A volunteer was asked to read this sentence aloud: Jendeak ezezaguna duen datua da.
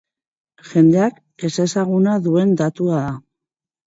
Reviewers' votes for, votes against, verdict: 2, 0, accepted